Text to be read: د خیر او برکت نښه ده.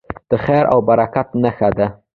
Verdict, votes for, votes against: rejected, 1, 2